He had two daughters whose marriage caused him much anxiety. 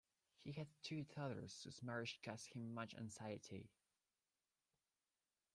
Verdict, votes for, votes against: rejected, 1, 2